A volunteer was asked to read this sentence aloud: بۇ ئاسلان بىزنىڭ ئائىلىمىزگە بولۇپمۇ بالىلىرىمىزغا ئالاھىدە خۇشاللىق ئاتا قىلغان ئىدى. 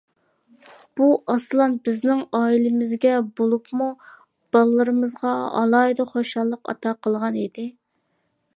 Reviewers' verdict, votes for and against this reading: accepted, 2, 0